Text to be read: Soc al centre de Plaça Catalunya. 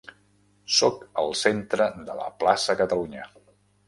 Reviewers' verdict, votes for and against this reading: rejected, 0, 2